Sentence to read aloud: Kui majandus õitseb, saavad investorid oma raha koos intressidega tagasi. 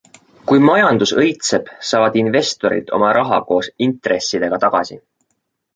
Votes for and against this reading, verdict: 2, 0, accepted